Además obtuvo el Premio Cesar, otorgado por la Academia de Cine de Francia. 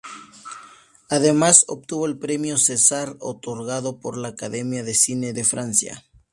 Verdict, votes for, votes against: accepted, 6, 0